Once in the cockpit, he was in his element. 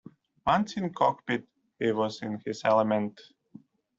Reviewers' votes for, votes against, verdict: 1, 2, rejected